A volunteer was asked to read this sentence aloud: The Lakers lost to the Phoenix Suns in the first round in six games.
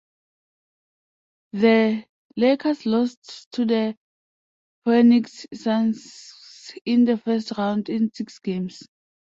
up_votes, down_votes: 2, 1